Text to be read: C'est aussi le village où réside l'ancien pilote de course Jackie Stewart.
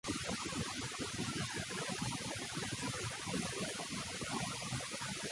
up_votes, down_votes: 0, 2